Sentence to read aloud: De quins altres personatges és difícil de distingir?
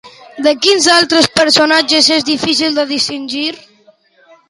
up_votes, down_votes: 2, 0